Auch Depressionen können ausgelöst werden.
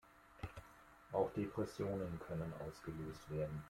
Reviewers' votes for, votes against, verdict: 2, 0, accepted